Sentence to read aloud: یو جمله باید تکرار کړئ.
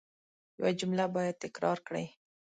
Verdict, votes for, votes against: accepted, 2, 0